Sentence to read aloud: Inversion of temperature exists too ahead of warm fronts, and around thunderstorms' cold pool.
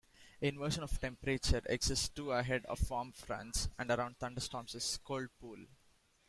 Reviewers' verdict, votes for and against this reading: accepted, 2, 1